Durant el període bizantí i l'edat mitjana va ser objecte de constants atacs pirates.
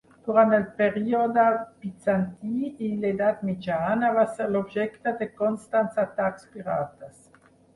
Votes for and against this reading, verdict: 2, 4, rejected